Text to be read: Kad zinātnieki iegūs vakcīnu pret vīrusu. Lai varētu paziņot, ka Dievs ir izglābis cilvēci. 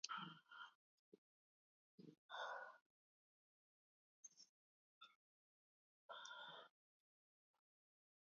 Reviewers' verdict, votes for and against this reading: rejected, 0, 2